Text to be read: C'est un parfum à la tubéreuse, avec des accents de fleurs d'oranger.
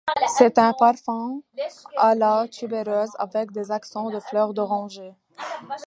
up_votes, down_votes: 0, 2